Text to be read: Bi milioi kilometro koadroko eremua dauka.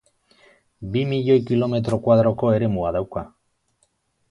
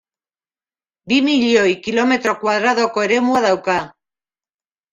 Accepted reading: first